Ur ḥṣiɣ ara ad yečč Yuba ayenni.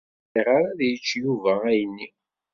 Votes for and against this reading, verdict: 1, 2, rejected